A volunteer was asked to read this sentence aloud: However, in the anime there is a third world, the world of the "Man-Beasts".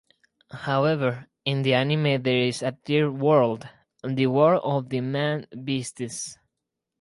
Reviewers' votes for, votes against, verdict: 0, 2, rejected